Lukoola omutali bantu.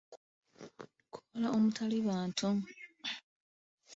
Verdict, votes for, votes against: accepted, 2, 1